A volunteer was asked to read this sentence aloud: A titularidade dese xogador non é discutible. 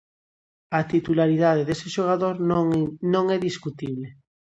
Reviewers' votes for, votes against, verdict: 0, 2, rejected